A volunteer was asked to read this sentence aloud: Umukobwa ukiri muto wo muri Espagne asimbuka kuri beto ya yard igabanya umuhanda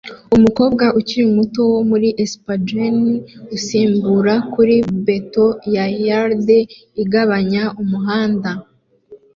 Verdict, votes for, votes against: rejected, 1, 2